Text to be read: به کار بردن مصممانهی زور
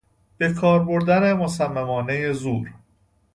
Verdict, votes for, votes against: accepted, 2, 0